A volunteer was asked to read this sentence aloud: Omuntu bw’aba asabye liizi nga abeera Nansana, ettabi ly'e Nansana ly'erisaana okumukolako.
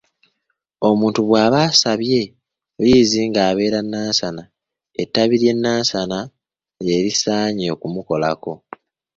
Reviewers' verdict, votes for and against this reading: rejected, 0, 2